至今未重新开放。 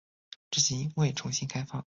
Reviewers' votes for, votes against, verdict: 2, 0, accepted